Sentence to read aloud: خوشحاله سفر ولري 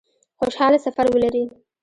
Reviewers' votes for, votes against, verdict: 2, 1, accepted